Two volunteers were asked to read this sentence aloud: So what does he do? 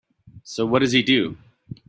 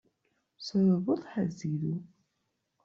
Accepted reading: first